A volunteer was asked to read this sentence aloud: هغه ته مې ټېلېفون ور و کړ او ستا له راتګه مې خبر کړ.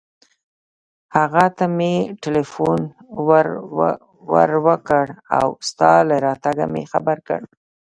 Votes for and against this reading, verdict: 0, 2, rejected